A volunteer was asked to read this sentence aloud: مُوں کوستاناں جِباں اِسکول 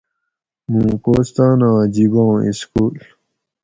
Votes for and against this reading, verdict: 4, 0, accepted